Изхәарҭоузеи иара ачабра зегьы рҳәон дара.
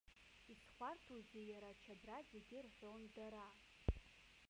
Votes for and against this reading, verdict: 0, 2, rejected